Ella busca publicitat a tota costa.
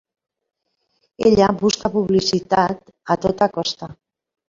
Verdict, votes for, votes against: accepted, 3, 1